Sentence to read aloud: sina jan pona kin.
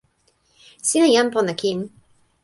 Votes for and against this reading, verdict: 2, 0, accepted